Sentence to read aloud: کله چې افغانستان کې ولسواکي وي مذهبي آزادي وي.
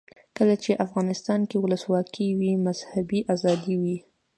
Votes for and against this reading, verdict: 2, 0, accepted